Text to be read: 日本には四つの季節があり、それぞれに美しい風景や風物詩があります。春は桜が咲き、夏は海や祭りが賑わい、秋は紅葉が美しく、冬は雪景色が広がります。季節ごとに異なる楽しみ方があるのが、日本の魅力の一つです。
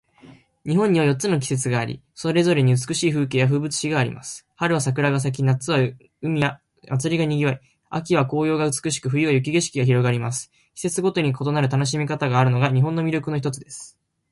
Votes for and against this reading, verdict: 2, 0, accepted